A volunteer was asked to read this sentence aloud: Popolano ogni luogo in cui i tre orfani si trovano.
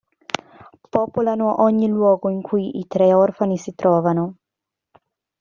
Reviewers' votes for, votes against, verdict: 2, 0, accepted